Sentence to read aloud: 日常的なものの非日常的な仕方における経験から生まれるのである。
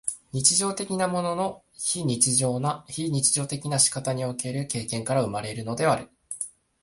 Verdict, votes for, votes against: rejected, 0, 2